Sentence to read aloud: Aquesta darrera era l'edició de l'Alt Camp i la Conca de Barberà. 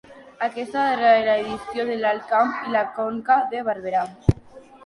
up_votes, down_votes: 1, 2